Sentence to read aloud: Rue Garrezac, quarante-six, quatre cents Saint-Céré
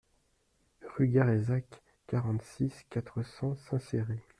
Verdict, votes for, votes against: accepted, 2, 1